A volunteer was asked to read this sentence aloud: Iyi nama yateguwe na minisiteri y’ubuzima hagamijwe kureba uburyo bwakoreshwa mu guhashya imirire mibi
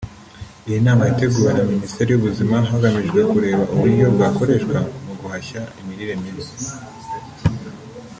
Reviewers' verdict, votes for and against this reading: accepted, 2, 0